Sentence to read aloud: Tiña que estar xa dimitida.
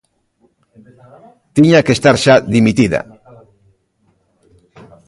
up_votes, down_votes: 3, 0